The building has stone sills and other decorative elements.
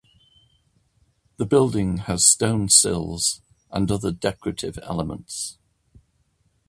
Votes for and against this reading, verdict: 2, 0, accepted